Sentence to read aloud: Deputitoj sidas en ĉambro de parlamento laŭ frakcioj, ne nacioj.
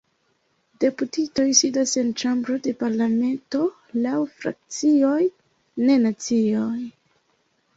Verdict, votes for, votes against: rejected, 0, 2